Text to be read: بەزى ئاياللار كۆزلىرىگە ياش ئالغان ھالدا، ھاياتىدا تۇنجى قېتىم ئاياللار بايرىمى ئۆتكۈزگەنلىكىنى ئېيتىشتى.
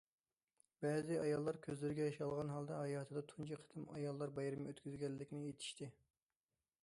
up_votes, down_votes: 2, 0